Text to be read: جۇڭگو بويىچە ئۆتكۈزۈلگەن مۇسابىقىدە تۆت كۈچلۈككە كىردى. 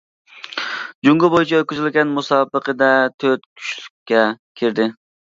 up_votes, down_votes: 2, 0